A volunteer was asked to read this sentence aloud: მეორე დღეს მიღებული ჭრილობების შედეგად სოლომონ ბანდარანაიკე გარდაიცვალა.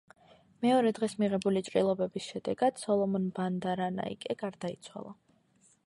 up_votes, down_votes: 2, 0